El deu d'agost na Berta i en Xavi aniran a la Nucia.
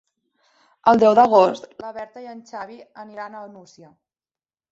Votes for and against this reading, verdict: 1, 2, rejected